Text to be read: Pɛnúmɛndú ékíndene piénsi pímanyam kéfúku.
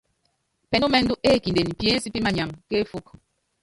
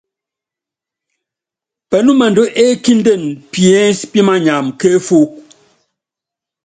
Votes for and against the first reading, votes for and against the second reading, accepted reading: 0, 2, 2, 0, second